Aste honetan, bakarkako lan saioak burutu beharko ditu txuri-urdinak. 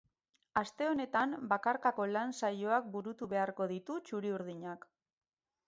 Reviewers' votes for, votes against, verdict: 0, 2, rejected